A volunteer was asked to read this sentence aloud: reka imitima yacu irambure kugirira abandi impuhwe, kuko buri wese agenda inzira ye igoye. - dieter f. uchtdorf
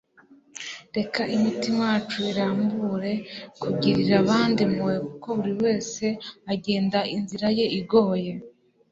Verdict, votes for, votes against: rejected, 1, 2